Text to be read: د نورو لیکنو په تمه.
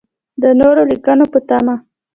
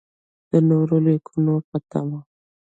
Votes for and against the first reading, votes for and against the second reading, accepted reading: 2, 0, 1, 2, first